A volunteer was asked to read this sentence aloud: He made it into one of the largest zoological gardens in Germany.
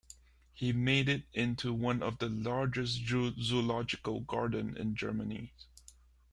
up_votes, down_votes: 0, 2